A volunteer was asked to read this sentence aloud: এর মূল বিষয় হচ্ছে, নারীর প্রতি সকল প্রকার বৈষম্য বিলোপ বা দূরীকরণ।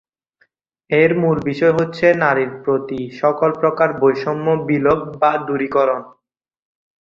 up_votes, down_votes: 2, 0